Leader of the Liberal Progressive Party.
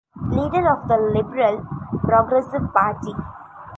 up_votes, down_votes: 1, 2